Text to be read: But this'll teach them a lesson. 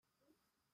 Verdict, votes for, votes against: rejected, 0, 2